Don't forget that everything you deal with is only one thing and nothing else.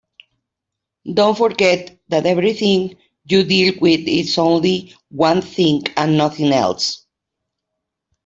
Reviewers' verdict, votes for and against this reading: accepted, 3, 0